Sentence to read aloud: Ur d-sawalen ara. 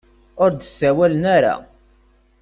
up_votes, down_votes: 2, 0